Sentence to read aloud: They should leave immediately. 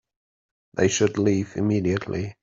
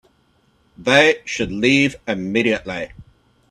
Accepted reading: first